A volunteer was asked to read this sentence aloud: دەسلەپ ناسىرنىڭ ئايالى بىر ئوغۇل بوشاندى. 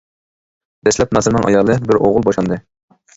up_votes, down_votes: 2, 0